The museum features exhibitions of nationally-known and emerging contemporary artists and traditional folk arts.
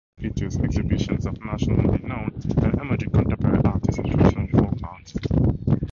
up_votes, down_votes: 0, 2